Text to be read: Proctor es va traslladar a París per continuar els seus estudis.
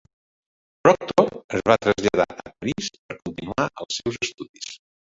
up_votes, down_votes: 0, 2